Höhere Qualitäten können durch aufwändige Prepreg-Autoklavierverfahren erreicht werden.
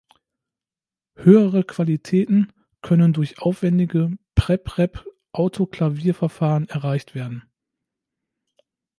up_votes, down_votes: 0, 2